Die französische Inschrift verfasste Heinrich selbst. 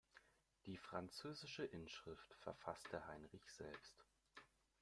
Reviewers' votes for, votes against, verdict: 1, 2, rejected